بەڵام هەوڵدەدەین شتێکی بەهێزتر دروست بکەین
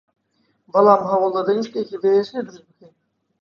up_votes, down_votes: 2, 0